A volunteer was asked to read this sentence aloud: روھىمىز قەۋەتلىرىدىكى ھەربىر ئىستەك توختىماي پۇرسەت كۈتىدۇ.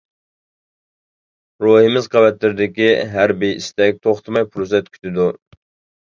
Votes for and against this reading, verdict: 1, 2, rejected